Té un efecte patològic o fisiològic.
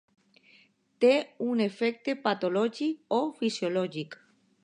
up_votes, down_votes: 2, 0